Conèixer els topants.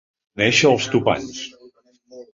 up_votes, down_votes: 0, 2